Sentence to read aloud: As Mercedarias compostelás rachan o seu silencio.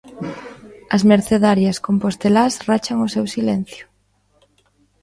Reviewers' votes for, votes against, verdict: 2, 0, accepted